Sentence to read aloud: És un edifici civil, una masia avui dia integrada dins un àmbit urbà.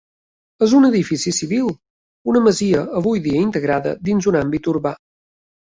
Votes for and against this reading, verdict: 3, 0, accepted